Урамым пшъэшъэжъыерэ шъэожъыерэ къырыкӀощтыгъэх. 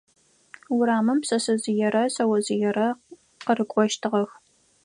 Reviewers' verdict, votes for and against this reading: accepted, 4, 0